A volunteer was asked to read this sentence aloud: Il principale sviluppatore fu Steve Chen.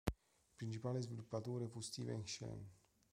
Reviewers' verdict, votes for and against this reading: rejected, 0, 2